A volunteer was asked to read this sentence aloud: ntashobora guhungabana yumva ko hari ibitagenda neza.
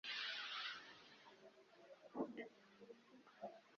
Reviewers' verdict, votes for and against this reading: rejected, 1, 2